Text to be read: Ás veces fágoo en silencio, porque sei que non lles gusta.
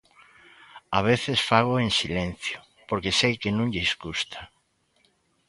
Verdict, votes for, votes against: rejected, 0, 2